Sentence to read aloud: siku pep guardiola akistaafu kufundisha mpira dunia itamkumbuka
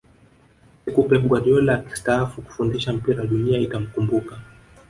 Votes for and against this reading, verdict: 0, 2, rejected